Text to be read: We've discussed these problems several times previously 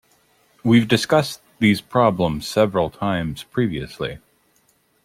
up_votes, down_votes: 2, 0